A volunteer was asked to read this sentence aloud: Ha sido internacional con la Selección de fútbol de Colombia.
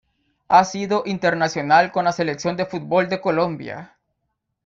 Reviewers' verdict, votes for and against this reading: accepted, 2, 0